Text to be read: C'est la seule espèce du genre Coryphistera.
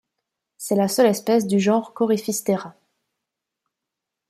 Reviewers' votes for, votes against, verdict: 2, 0, accepted